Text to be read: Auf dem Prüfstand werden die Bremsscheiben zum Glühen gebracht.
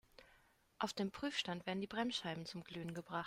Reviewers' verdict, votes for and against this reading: rejected, 1, 2